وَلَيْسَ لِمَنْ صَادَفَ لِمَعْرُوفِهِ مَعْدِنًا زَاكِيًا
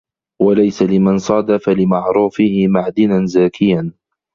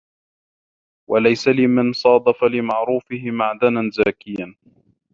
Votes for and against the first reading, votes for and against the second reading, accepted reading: 2, 0, 1, 2, first